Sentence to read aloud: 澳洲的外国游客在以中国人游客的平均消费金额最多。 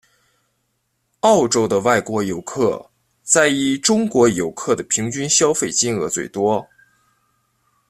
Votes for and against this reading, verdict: 0, 3, rejected